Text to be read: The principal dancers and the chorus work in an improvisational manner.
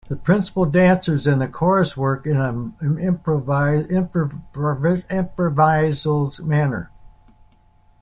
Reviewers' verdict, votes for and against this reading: rejected, 0, 2